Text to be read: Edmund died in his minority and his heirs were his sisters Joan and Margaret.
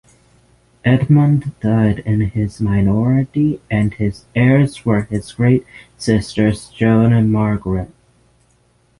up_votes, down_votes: 3, 6